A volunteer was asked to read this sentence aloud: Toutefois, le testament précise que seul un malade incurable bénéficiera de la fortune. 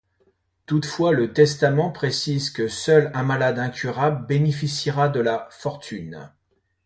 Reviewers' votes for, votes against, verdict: 2, 0, accepted